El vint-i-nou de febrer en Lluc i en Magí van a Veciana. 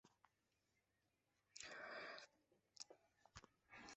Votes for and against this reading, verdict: 0, 2, rejected